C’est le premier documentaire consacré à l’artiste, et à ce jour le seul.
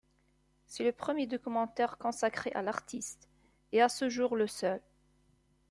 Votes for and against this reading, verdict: 2, 0, accepted